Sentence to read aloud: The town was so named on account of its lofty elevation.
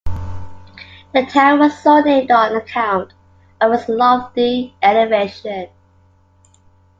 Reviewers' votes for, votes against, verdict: 2, 0, accepted